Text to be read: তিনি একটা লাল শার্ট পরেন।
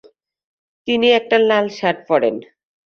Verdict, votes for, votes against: rejected, 0, 2